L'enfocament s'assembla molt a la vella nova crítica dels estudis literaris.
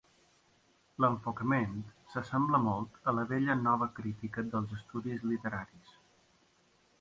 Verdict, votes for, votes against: accepted, 3, 0